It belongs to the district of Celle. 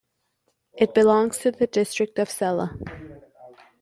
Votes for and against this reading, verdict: 2, 0, accepted